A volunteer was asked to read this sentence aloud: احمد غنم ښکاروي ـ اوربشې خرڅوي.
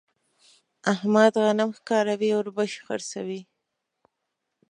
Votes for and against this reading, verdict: 2, 0, accepted